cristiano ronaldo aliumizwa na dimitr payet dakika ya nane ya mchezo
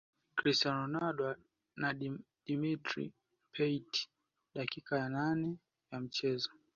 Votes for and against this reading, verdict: 2, 0, accepted